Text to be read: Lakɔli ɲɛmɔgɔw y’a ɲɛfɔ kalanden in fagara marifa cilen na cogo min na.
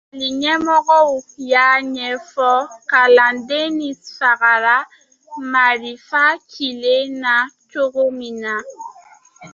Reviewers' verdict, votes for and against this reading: rejected, 0, 2